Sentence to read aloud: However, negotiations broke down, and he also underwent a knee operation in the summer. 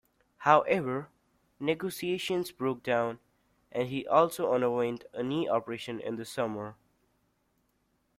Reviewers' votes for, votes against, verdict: 2, 1, accepted